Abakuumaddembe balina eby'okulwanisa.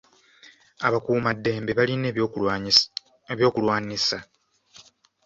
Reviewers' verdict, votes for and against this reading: rejected, 1, 2